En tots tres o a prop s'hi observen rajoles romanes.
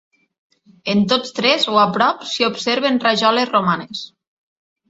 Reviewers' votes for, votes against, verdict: 3, 0, accepted